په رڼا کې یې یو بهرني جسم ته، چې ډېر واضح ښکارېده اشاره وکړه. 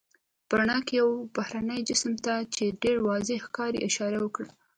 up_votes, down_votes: 0, 2